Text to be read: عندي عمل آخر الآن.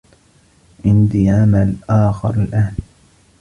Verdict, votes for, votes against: accepted, 2, 1